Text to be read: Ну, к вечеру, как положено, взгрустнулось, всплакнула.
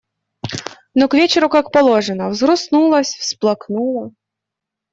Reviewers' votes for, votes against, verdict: 2, 0, accepted